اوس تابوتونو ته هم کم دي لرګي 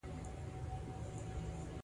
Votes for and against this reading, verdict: 0, 2, rejected